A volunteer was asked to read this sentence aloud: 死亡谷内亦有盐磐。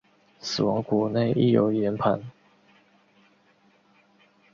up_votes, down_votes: 2, 0